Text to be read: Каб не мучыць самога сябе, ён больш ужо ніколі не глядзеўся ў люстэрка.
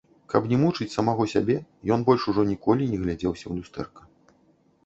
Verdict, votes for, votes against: rejected, 0, 2